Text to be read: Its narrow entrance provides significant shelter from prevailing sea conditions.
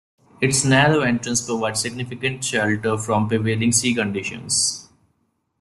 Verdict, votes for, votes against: accepted, 2, 0